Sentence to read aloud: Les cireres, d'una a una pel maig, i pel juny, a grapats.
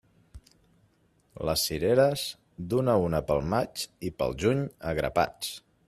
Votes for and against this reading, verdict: 2, 0, accepted